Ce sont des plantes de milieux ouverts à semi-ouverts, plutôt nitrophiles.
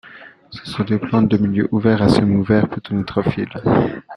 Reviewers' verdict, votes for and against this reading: accepted, 2, 0